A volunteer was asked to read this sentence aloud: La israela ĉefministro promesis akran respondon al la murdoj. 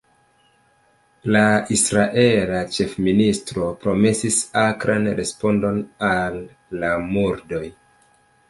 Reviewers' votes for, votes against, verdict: 0, 2, rejected